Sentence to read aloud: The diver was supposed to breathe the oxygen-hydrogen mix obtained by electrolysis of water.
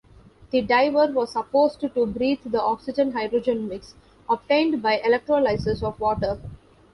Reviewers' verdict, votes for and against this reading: rejected, 0, 2